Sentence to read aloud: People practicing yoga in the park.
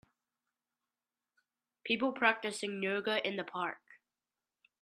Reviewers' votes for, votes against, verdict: 3, 1, accepted